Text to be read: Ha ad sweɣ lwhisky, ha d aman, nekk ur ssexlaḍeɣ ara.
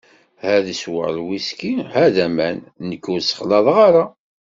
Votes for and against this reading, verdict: 3, 0, accepted